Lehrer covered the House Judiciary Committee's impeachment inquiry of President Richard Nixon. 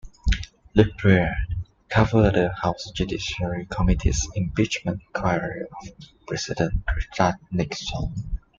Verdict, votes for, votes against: accepted, 2, 0